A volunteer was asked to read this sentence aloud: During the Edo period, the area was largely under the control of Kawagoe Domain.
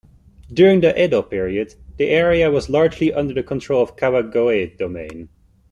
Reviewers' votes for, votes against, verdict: 2, 1, accepted